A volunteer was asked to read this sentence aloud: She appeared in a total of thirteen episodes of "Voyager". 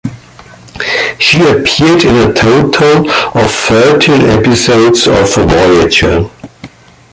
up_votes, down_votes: 1, 2